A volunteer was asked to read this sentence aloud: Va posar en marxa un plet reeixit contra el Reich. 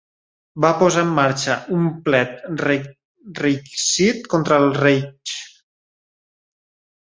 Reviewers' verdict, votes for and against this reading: rejected, 0, 2